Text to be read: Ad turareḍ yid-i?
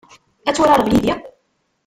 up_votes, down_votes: 0, 2